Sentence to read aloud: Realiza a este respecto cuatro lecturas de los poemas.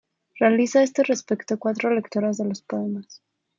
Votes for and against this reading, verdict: 1, 2, rejected